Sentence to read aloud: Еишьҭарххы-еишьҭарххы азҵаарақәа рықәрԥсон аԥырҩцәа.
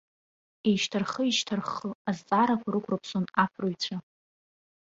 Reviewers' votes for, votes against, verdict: 2, 0, accepted